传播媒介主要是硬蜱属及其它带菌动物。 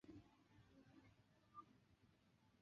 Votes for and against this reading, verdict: 5, 6, rejected